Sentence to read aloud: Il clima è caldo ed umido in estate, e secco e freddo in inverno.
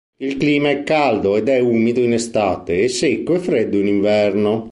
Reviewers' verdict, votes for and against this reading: rejected, 0, 2